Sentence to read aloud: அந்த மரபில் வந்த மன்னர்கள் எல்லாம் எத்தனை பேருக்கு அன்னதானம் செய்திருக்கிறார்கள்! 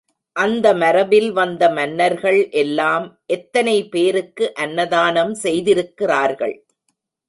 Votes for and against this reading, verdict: 2, 0, accepted